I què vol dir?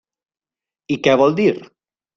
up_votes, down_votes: 3, 0